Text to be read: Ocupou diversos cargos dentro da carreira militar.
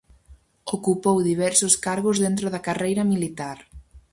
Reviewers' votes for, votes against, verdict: 2, 2, rejected